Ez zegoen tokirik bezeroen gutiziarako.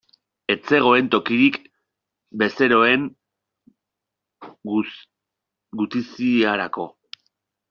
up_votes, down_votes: 0, 2